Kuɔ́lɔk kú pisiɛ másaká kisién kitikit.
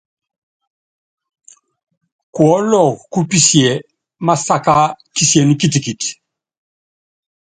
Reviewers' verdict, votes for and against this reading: accepted, 2, 0